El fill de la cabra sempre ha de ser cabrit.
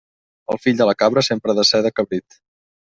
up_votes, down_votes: 1, 2